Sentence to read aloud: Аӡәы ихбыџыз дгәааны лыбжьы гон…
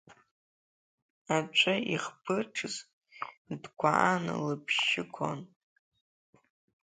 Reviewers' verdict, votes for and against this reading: rejected, 0, 2